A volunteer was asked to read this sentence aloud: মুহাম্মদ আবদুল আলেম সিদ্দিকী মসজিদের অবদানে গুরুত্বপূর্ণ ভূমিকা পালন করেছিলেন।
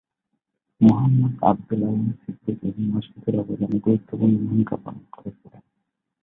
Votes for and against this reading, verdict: 0, 2, rejected